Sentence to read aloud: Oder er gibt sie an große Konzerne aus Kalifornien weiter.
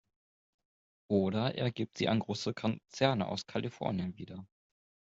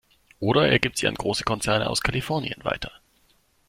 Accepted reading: second